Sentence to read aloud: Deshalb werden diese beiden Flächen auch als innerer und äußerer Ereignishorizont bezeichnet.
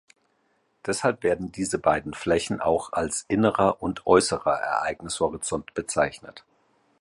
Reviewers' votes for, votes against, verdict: 2, 0, accepted